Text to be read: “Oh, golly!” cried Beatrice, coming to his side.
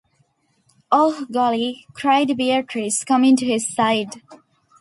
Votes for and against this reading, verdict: 2, 0, accepted